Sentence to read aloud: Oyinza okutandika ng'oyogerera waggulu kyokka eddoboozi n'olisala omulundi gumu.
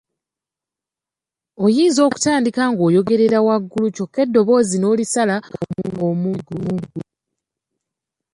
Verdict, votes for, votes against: rejected, 1, 2